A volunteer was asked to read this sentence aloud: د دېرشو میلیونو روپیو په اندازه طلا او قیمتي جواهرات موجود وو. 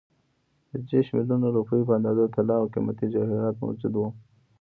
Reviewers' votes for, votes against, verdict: 3, 0, accepted